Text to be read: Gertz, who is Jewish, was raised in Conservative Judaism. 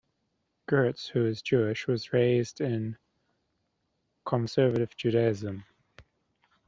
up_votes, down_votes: 2, 0